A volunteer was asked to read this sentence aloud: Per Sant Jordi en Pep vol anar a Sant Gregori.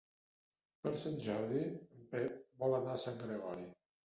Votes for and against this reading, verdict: 0, 2, rejected